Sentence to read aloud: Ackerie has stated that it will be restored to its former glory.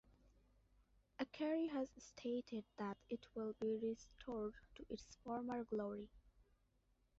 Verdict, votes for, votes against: accepted, 2, 0